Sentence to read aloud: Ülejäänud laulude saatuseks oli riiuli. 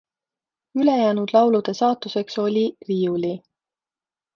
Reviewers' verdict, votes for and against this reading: accepted, 2, 0